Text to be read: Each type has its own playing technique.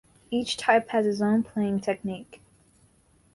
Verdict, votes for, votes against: accepted, 2, 0